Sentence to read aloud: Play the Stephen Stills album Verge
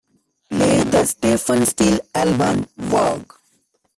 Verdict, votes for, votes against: rejected, 0, 3